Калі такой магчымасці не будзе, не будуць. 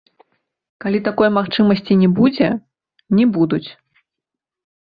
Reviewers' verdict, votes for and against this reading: accepted, 2, 0